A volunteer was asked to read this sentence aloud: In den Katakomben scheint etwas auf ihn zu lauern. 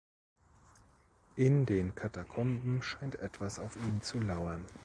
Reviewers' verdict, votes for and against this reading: accepted, 2, 0